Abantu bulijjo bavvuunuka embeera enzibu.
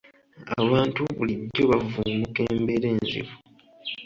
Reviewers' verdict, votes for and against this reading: accepted, 2, 0